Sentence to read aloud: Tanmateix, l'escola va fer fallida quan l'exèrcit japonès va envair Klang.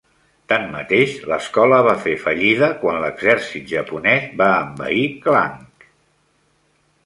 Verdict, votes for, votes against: accepted, 2, 0